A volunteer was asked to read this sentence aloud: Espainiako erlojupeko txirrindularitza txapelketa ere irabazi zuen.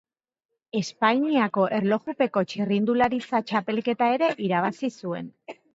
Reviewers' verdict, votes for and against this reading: accepted, 2, 0